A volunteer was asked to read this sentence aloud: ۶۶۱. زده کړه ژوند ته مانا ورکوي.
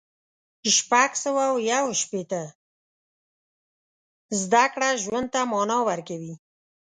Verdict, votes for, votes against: rejected, 0, 2